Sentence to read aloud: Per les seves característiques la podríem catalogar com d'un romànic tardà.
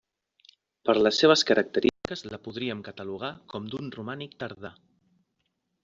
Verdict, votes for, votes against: rejected, 1, 2